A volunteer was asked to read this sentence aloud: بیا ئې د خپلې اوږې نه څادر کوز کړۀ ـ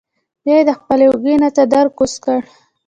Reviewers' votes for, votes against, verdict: 0, 2, rejected